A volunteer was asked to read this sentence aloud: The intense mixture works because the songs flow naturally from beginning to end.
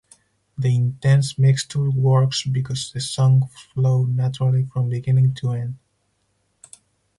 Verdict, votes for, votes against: rejected, 2, 4